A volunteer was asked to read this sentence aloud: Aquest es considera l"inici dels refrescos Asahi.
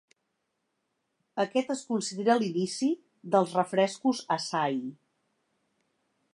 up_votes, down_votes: 2, 0